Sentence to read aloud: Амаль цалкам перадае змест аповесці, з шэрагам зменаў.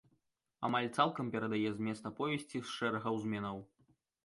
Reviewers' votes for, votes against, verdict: 1, 2, rejected